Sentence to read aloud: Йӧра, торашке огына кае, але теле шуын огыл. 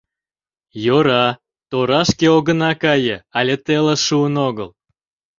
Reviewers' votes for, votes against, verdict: 0, 2, rejected